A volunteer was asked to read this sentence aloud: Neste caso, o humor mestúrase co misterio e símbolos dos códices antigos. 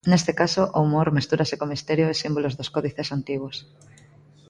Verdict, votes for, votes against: accepted, 2, 0